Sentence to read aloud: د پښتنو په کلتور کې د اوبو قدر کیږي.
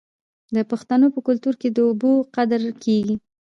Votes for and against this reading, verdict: 1, 2, rejected